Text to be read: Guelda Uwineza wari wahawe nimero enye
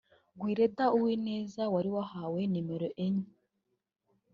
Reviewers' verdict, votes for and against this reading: accepted, 2, 0